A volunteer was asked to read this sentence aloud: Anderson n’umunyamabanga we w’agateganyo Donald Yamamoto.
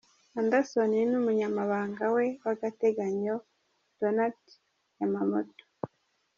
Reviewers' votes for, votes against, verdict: 2, 0, accepted